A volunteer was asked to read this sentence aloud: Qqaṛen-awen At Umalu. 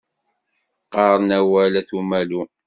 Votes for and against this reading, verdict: 1, 2, rejected